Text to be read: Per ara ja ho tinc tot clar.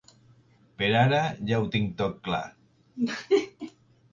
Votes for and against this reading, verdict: 0, 2, rejected